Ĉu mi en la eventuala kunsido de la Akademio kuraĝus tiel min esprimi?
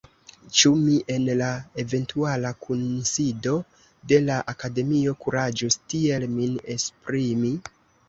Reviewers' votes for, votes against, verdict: 1, 2, rejected